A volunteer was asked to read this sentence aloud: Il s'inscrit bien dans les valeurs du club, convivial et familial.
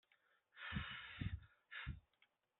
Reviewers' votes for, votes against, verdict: 0, 2, rejected